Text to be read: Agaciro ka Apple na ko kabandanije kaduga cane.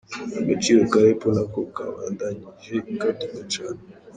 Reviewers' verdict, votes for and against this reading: rejected, 0, 2